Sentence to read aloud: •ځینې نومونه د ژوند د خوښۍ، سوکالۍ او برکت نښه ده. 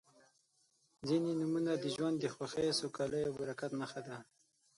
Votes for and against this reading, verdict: 0, 6, rejected